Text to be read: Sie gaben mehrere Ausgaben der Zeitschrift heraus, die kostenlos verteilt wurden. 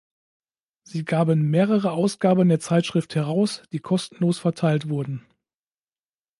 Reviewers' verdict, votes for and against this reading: accepted, 2, 0